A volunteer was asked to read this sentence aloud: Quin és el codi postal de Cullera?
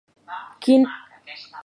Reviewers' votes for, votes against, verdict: 0, 3, rejected